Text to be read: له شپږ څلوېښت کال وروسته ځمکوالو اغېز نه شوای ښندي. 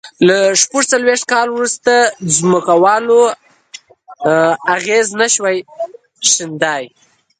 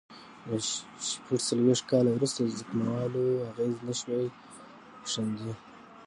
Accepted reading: second